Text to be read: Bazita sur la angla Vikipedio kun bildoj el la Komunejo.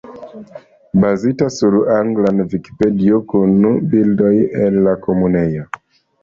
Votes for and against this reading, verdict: 2, 0, accepted